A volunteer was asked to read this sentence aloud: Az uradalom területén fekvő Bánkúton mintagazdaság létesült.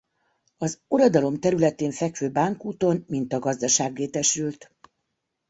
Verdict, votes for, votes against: accepted, 2, 0